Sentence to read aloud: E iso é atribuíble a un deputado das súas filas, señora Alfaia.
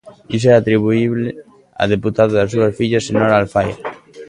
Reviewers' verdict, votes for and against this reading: rejected, 0, 2